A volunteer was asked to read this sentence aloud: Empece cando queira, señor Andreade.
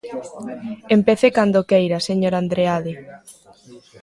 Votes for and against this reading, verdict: 2, 0, accepted